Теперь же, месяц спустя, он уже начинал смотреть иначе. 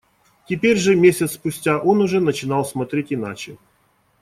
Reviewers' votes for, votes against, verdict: 2, 0, accepted